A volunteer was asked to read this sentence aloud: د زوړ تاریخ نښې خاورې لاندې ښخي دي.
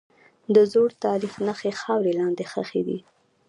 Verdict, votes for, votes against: rejected, 1, 2